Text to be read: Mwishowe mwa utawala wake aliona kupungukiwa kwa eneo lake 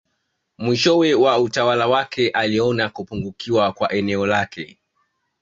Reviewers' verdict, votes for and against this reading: accepted, 2, 1